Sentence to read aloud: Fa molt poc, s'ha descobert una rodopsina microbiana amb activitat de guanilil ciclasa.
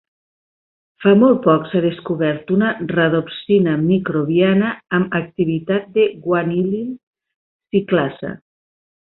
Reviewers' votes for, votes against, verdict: 1, 2, rejected